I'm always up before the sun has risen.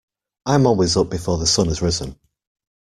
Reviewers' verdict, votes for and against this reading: accepted, 2, 0